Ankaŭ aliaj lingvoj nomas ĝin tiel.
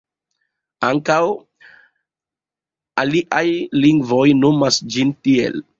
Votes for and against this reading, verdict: 2, 0, accepted